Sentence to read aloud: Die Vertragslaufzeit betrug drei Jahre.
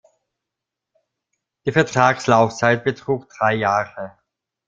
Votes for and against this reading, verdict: 2, 0, accepted